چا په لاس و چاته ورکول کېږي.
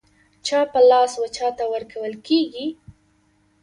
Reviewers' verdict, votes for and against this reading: rejected, 1, 2